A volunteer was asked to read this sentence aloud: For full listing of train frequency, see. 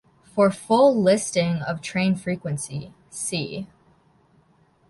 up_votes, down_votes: 2, 0